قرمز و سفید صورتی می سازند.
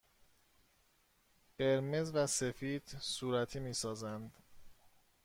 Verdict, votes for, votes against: accepted, 2, 0